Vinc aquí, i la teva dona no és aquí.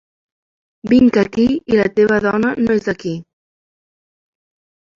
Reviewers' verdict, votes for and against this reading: rejected, 0, 2